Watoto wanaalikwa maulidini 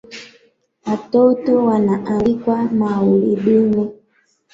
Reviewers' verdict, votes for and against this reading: accepted, 2, 0